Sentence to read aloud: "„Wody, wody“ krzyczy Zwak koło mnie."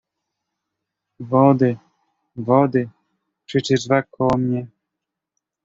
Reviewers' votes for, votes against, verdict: 1, 2, rejected